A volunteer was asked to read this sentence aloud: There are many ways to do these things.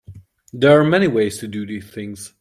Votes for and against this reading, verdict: 2, 0, accepted